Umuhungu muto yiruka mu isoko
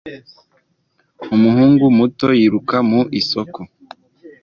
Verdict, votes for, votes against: accepted, 2, 0